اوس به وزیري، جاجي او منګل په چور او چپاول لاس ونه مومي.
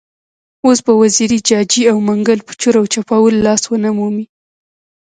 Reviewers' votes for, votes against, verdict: 1, 2, rejected